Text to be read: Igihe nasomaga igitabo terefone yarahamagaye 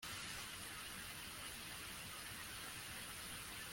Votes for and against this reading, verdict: 0, 2, rejected